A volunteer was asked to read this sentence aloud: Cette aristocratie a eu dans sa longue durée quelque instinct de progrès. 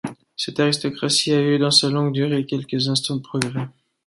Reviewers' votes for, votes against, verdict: 1, 2, rejected